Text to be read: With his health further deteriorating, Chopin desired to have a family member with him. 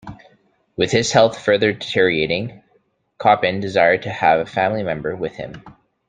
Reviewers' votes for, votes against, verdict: 2, 1, accepted